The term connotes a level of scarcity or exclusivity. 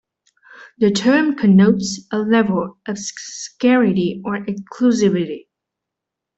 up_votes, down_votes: 1, 2